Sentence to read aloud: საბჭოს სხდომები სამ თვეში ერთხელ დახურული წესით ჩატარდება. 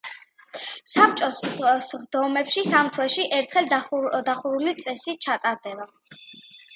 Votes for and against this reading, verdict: 1, 2, rejected